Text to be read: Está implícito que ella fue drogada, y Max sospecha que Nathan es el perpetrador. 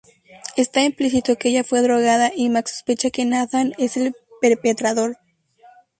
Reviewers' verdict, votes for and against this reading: accepted, 2, 0